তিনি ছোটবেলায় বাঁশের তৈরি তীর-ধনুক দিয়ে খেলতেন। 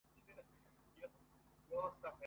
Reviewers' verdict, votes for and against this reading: rejected, 0, 2